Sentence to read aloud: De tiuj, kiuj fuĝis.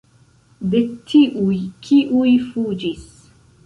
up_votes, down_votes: 2, 3